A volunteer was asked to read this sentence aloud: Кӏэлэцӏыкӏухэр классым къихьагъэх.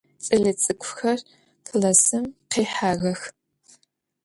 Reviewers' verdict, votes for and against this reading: accepted, 2, 1